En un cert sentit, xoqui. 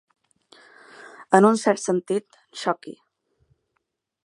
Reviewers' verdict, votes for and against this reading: accepted, 2, 0